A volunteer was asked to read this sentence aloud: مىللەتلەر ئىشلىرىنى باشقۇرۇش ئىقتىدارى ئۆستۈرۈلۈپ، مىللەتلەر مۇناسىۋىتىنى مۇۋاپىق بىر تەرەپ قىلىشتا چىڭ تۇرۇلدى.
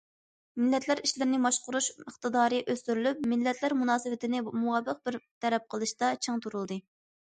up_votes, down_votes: 2, 0